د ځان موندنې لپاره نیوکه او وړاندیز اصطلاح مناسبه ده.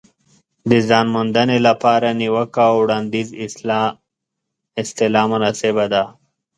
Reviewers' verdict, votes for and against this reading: rejected, 1, 2